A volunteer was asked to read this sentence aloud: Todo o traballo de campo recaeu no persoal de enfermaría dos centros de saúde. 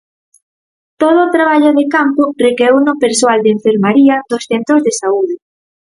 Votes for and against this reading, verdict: 4, 0, accepted